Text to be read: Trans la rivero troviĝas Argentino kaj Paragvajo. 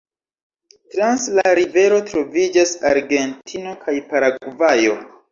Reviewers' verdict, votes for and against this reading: rejected, 1, 2